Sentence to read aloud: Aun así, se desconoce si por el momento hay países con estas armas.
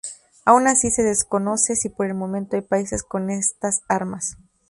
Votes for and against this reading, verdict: 2, 0, accepted